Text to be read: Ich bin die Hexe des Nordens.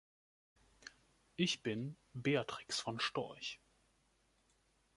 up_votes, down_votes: 0, 2